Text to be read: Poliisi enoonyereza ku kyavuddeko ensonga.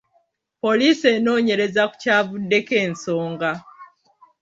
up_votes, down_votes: 2, 1